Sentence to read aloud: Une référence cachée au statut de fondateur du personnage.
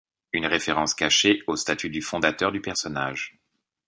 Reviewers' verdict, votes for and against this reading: rejected, 1, 2